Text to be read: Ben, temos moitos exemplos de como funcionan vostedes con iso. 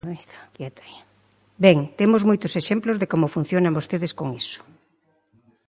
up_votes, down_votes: 0, 2